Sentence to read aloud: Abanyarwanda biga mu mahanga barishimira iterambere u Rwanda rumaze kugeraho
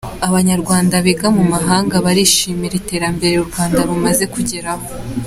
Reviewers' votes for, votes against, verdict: 2, 0, accepted